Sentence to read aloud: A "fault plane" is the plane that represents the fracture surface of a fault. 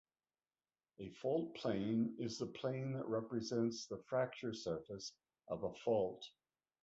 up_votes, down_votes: 0, 2